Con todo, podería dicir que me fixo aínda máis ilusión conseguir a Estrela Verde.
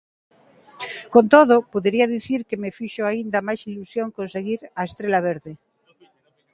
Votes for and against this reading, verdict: 2, 0, accepted